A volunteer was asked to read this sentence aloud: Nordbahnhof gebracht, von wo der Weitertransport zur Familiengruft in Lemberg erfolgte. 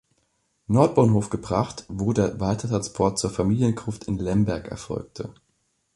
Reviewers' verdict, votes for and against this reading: rejected, 0, 2